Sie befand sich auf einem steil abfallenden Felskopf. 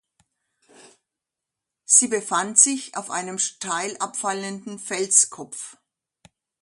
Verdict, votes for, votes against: accepted, 2, 0